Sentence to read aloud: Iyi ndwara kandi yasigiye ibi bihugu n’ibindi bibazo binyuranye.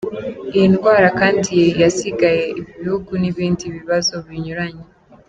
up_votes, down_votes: 1, 2